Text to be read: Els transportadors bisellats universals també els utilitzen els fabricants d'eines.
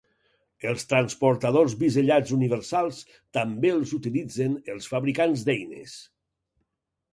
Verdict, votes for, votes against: accepted, 2, 0